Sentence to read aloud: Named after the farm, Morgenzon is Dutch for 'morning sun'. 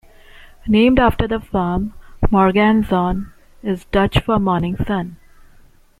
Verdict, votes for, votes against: rejected, 1, 2